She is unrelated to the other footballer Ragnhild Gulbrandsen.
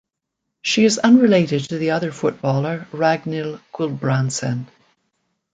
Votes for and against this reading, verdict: 2, 0, accepted